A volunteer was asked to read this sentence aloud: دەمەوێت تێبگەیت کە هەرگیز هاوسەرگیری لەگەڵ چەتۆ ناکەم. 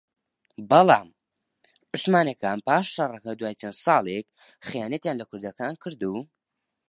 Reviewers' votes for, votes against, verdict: 0, 2, rejected